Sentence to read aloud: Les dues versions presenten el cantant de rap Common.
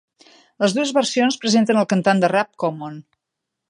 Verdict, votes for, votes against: accepted, 3, 0